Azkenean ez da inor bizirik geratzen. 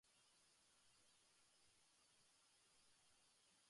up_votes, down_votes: 0, 2